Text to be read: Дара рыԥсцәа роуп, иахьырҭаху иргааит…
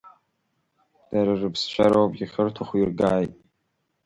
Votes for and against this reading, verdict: 2, 0, accepted